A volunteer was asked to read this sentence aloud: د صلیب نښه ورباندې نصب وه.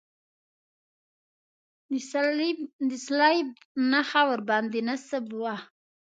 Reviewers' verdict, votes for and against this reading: rejected, 1, 2